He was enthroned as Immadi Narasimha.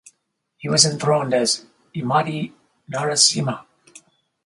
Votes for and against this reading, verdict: 2, 0, accepted